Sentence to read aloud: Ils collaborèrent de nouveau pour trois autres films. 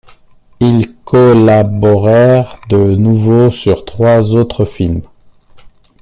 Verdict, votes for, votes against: rejected, 0, 2